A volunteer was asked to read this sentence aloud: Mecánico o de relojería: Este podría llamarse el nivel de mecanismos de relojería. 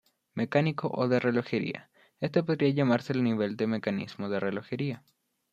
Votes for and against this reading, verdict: 0, 2, rejected